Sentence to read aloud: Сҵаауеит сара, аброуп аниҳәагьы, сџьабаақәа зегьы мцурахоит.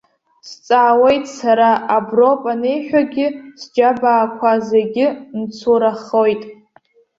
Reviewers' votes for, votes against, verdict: 2, 0, accepted